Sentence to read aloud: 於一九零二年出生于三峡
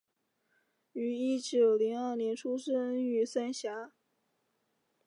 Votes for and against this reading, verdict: 2, 0, accepted